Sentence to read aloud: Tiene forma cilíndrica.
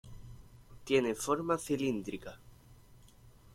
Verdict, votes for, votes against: accepted, 2, 0